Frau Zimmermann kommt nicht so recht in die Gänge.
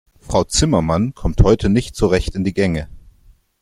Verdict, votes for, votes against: rejected, 0, 2